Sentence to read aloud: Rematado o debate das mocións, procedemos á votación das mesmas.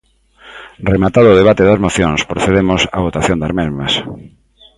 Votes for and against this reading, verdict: 2, 1, accepted